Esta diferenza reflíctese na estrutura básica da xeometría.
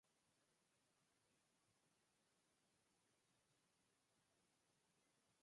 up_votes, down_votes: 0, 4